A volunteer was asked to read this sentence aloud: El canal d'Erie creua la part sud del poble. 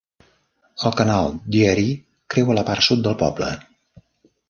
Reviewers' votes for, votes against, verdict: 0, 2, rejected